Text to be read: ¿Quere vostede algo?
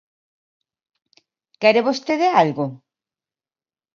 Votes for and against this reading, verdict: 2, 0, accepted